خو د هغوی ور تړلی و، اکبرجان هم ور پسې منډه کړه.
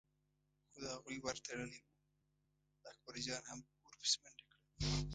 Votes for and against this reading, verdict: 1, 2, rejected